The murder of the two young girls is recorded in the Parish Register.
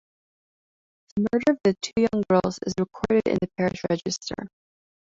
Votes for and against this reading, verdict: 0, 2, rejected